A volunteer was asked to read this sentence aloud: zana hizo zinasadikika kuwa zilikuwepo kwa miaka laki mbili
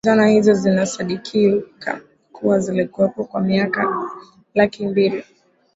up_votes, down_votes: 0, 2